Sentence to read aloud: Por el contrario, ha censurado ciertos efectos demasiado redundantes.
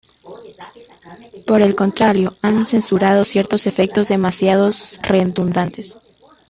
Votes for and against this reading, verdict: 1, 2, rejected